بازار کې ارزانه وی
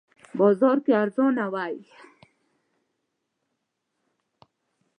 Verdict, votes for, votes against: accepted, 2, 0